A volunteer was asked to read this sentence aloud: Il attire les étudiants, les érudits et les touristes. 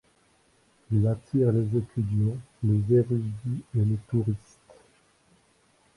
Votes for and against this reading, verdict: 1, 2, rejected